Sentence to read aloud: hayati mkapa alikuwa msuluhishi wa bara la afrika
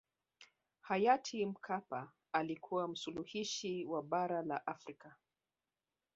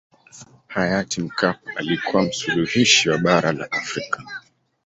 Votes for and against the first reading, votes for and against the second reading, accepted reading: 2, 1, 0, 2, first